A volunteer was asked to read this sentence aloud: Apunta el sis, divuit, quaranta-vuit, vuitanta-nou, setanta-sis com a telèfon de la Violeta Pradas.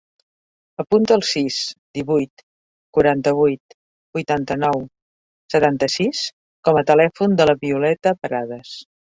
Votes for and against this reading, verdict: 5, 0, accepted